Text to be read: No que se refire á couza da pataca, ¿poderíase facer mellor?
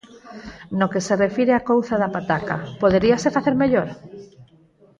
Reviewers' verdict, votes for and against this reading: accepted, 4, 0